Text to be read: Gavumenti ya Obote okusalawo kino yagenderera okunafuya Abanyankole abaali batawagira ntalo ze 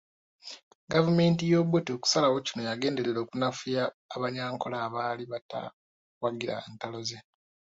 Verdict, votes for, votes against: accepted, 2, 0